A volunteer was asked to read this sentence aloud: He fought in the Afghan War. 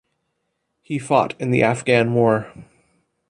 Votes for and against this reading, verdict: 2, 0, accepted